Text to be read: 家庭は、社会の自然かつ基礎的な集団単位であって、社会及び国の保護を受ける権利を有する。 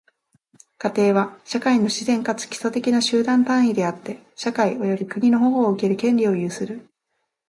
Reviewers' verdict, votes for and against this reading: accepted, 2, 0